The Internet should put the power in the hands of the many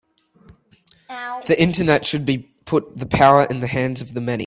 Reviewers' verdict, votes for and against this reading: rejected, 0, 2